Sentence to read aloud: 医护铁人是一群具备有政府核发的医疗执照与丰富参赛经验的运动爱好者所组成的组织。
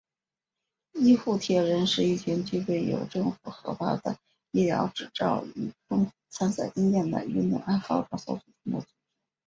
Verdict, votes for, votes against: rejected, 0, 2